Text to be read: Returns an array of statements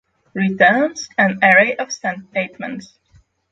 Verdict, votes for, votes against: rejected, 3, 6